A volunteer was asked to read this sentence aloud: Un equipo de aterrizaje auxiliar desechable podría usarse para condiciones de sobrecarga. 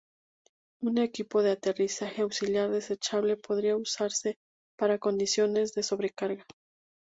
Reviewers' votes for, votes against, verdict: 2, 0, accepted